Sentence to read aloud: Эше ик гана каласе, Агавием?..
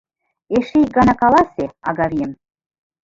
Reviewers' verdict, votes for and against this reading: accepted, 2, 1